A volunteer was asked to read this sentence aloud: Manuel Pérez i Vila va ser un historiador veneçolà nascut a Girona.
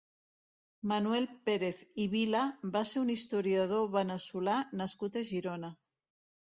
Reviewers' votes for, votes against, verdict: 1, 2, rejected